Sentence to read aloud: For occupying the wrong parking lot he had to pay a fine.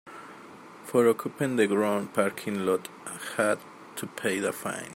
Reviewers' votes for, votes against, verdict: 1, 2, rejected